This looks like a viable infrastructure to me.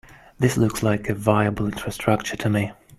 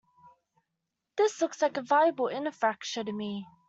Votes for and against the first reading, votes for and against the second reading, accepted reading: 2, 1, 0, 2, first